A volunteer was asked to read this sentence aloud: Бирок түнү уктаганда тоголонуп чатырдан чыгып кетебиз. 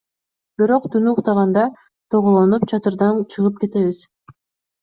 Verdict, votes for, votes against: accepted, 2, 0